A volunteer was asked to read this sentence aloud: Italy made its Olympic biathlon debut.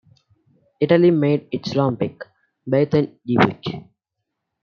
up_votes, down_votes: 0, 2